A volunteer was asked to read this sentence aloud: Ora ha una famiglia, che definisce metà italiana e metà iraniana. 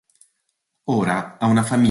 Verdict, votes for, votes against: rejected, 0, 2